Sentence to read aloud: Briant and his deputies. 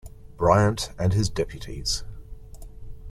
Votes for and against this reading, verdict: 2, 0, accepted